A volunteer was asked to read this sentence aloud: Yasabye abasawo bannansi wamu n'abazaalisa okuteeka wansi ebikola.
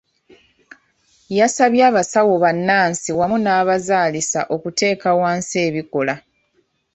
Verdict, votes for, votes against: accepted, 2, 0